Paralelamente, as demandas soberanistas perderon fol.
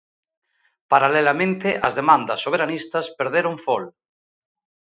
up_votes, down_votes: 2, 0